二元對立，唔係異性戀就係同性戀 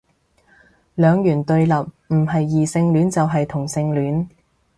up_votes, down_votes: 0, 2